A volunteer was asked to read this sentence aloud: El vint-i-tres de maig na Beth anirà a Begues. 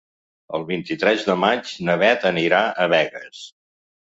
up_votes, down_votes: 4, 0